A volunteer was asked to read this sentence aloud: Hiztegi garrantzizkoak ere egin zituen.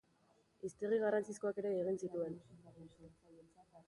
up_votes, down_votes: 3, 0